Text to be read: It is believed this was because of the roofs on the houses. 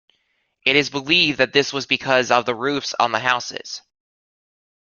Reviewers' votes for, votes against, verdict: 0, 2, rejected